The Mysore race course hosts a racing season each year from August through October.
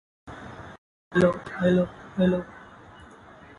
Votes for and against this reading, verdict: 0, 2, rejected